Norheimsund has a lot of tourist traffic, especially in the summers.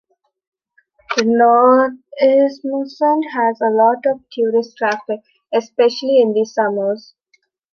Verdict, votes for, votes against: rejected, 0, 2